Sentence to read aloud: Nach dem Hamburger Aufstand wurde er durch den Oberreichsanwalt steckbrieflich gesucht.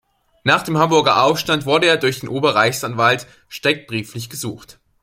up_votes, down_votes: 1, 2